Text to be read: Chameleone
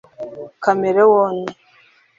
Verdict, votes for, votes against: rejected, 1, 2